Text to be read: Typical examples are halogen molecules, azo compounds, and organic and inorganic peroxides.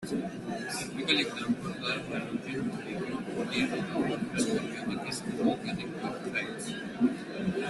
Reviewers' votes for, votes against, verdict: 0, 2, rejected